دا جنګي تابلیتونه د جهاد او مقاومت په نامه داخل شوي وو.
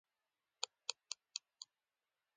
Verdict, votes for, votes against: accepted, 2, 1